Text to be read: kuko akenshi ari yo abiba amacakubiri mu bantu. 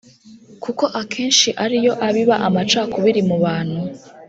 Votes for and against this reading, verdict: 3, 0, accepted